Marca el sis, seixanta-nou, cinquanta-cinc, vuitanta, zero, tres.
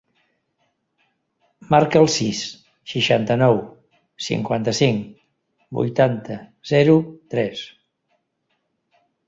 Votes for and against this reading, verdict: 3, 0, accepted